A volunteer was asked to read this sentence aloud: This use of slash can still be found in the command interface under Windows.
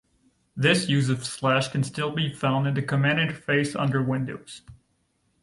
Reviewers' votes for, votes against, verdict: 2, 0, accepted